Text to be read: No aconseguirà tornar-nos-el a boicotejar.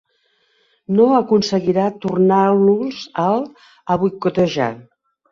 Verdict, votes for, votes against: rejected, 1, 2